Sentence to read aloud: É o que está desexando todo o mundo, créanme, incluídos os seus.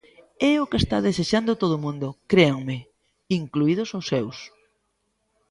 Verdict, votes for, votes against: accepted, 2, 0